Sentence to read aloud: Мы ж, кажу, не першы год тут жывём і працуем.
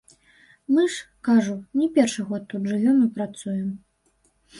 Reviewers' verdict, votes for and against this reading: accepted, 2, 0